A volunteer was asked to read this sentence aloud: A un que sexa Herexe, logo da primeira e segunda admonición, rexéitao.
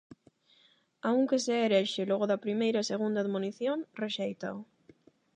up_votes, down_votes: 0, 8